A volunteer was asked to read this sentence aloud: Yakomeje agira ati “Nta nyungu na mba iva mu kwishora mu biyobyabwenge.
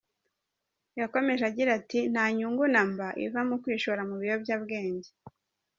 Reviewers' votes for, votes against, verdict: 2, 1, accepted